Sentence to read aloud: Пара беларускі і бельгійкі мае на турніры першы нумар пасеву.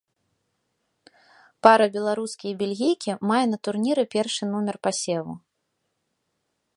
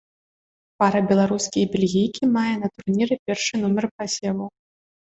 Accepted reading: second